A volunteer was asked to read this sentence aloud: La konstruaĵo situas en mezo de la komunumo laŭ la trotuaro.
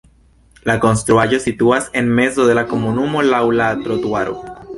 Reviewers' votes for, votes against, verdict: 2, 0, accepted